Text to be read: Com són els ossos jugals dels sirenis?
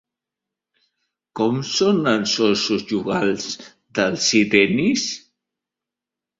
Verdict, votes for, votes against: rejected, 0, 3